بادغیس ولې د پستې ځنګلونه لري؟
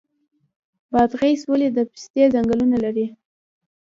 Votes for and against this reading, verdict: 1, 2, rejected